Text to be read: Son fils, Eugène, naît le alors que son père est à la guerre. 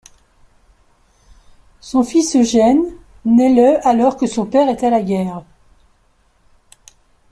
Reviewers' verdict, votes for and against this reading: accepted, 2, 0